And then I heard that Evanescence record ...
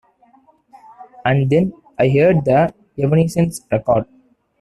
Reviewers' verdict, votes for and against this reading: rejected, 0, 2